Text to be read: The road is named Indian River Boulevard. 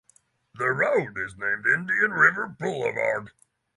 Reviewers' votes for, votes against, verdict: 3, 0, accepted